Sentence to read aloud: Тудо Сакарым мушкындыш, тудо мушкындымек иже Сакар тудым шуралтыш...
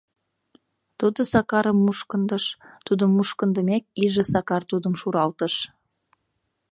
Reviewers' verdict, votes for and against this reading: accepted, 2, 0